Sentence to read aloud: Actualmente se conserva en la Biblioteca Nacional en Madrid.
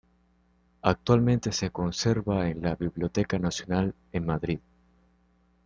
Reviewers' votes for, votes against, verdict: 2, 0, accepted